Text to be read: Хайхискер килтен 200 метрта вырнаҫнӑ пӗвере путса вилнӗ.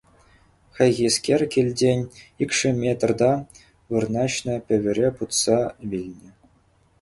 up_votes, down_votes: 0, 2